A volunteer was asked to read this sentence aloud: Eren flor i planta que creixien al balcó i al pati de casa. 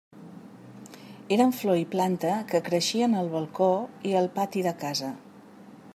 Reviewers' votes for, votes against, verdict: 3, 0, accepted